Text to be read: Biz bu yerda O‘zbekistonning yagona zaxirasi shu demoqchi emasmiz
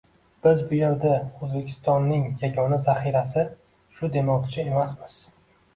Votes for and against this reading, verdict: 2, 1, accepted